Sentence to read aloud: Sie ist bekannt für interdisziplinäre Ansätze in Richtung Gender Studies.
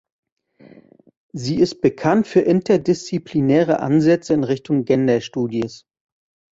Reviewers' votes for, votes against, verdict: 1, 2, rejected